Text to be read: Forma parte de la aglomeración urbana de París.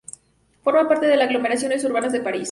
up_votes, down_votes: 0, 2